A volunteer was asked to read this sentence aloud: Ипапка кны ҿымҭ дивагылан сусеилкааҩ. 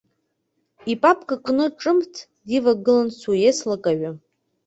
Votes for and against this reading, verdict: 2, 0, accepted